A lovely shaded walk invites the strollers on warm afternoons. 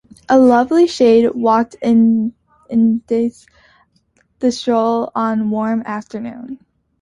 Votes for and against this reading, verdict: 0, 2, rejected